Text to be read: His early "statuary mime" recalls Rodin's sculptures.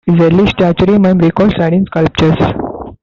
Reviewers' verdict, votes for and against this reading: rejected, 0, 2